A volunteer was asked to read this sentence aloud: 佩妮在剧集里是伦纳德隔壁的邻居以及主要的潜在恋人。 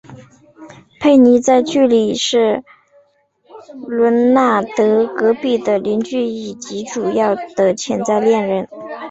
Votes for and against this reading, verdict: 3, 2, accepted